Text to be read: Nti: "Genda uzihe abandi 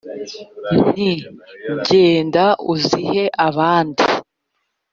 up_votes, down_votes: 4, 0